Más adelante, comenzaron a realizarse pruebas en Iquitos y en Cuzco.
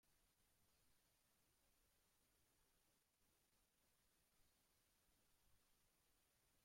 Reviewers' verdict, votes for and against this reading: rejected, 0, 2